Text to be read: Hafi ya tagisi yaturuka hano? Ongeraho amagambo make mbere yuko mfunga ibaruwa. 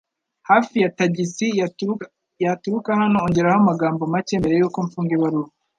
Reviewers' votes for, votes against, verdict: 0, 2, rejected